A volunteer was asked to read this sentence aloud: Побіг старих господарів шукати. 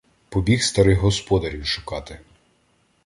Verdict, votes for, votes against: accepted, 2, 0